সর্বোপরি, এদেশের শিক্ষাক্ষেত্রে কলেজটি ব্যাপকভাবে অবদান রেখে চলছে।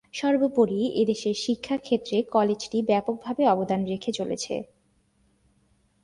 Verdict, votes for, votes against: rejected, 0, 2